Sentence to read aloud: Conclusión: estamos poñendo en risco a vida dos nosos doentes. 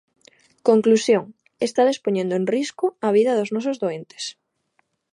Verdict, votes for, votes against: rejected, 0, 2